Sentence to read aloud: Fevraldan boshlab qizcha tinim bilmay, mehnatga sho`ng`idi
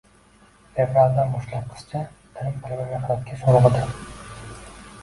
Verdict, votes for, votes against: rejected, 1, 2